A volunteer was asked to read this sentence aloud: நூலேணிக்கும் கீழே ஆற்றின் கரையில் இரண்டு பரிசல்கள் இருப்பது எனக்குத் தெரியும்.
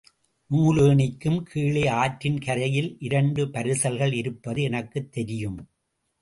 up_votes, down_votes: 2, 0